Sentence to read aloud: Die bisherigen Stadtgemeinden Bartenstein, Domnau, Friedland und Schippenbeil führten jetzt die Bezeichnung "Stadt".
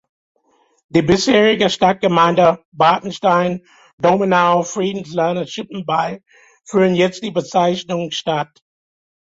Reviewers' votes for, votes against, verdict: 2, 0, accepted